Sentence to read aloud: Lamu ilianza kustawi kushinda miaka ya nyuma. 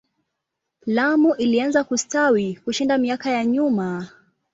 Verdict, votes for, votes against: accepted, 2, 0